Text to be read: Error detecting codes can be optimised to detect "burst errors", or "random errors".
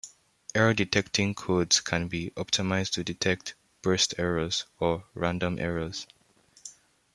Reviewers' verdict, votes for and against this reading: accepted, 2, 0